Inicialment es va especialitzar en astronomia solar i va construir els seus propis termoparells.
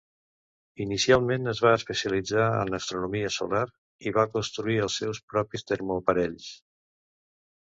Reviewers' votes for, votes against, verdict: 2, 0, accepted